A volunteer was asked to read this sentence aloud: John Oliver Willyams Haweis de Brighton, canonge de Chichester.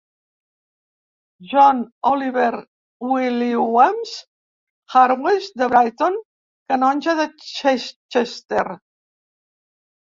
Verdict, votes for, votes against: rejected, 0, 3